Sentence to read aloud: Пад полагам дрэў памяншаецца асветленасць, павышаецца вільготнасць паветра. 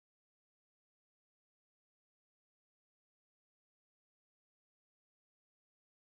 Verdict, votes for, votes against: rejected, 0, 2